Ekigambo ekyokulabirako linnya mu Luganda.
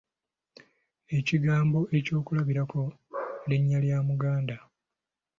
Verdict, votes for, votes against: rejected, 2, 3